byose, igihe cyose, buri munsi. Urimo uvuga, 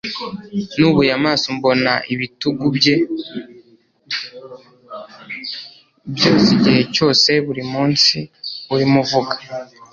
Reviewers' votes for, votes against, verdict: 3, 0, accepted